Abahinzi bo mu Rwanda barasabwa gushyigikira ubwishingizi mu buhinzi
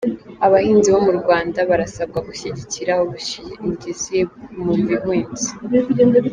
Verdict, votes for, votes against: rejected, 3, 4